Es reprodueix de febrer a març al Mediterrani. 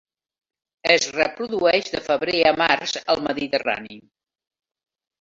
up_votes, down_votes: 1, 2